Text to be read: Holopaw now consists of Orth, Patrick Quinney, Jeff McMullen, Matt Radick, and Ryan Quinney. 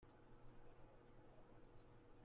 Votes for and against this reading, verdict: 0, 2, rejected